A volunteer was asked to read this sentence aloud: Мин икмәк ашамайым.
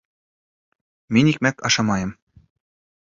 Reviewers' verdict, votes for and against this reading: accepted, 2, 0